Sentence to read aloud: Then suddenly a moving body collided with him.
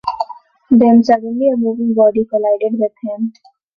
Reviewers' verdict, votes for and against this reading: accepted, 2, 0